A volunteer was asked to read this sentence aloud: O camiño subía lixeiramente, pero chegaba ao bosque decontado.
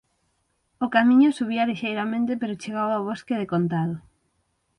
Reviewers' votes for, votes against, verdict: 9, 0, accepted